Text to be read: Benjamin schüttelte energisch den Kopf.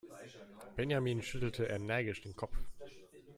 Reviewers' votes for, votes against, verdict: 2, 1, accepted